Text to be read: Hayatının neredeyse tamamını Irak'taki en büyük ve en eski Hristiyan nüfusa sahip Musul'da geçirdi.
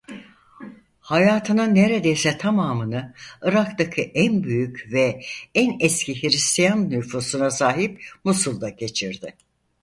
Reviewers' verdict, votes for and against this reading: rejected, 0, 4